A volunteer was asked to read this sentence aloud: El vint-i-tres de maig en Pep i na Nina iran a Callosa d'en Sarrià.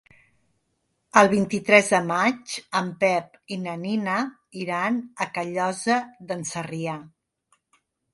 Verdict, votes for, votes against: accepted, 3, 0